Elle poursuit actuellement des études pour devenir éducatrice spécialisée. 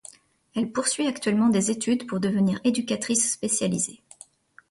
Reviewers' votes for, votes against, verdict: 2, 0, accepted